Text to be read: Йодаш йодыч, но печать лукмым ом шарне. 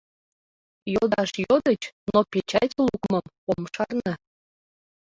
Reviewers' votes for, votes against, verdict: 1, 2, rejected